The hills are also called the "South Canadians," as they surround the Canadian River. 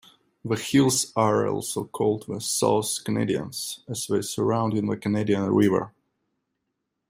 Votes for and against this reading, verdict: 3, 2, accepted